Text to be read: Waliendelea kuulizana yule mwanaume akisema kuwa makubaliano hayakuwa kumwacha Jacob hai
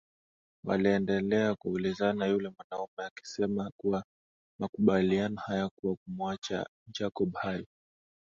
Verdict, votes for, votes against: accepted, 2, 0